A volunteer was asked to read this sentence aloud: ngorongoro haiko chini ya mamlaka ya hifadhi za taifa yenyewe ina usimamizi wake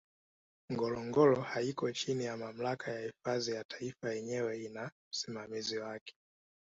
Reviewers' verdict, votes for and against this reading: rejected, 1, 2